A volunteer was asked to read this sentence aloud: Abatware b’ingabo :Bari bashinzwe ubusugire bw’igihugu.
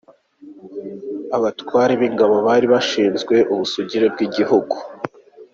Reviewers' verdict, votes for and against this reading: accepted, 2, 0